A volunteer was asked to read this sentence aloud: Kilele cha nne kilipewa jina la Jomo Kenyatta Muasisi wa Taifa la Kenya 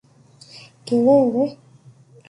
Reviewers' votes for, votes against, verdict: 1, 2, rejected